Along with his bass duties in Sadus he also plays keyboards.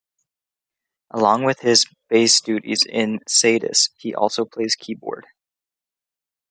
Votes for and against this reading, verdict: 2, 0, accepted